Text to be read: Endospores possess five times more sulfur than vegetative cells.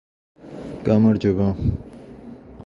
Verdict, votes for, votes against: rejected, 0, 2